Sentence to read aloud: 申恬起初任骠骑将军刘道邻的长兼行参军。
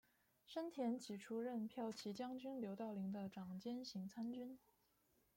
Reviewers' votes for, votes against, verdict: 1, 2, rejected